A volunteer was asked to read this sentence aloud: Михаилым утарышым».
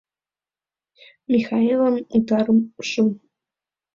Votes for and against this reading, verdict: 1, 5, rejected